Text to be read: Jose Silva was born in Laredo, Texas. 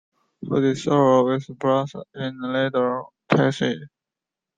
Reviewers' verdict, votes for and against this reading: accepted, 2, 1